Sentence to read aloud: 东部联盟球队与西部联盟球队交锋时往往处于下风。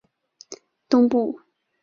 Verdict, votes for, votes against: rejected, 0, 3